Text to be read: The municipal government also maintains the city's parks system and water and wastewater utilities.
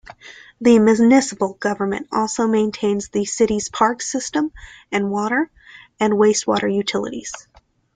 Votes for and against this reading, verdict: 0, 2, rejected